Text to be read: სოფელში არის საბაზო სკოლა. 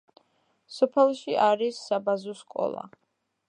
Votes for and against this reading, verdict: 2, 1, accepted